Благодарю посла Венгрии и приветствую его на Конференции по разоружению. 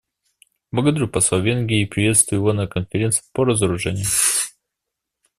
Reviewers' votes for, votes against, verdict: 1, 2, rejected